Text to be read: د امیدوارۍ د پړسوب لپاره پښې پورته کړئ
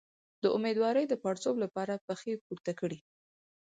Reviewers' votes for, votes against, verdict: 4, 0, accepted